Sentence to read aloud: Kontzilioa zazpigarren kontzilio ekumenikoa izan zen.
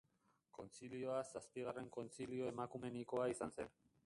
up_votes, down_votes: 0, 2